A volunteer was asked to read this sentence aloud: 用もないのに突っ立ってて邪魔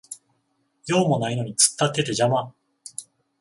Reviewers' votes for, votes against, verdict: 14, 0, accepted